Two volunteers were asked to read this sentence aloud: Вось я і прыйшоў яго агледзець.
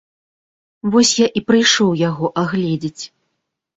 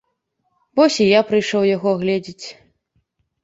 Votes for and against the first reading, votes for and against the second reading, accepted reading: 2, 0, 1, 2, first